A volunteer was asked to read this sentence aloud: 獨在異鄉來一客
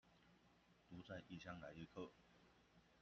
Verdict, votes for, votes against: rejected, 0, 2